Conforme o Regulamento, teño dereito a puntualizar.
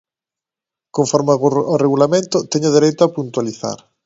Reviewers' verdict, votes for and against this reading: rejected, 2, 3